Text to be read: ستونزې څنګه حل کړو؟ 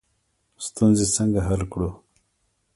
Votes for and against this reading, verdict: 1, 2, rejected